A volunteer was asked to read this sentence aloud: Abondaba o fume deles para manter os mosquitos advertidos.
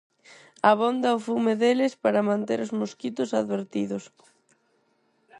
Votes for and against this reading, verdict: 2, 4, rejected